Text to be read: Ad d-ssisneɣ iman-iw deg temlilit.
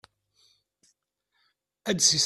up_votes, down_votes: 0, 2